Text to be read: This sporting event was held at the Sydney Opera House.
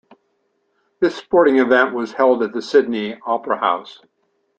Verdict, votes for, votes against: accepted, 2, 0